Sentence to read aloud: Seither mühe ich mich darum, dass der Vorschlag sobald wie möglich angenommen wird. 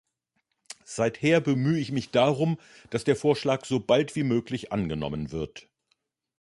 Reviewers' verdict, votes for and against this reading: rejected, 0, 2